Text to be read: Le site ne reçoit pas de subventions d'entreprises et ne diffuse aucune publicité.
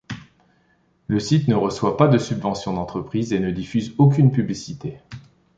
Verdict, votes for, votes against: accepted, 2, 0